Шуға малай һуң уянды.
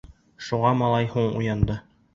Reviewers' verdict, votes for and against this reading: accepted, 2, 0